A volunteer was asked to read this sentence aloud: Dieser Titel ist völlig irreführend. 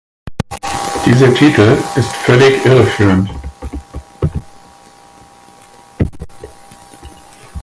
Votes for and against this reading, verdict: 2, 4, rejected